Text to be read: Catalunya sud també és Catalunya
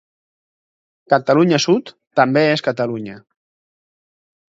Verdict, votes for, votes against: accepted, 6, 0